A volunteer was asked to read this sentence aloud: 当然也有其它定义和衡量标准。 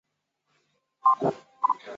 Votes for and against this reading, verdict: 0, 3, rejected